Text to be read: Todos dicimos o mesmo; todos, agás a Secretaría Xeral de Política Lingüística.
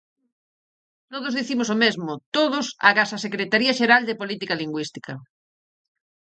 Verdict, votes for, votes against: accepted, 4, 0